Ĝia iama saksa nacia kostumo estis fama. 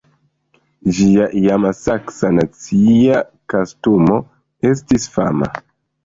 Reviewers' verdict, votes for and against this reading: rejected, 1, 2